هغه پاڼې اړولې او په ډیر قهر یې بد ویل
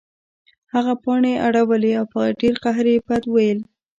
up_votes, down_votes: 1, 2